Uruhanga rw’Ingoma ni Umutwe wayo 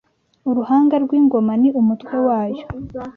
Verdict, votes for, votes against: accepted, 2, 0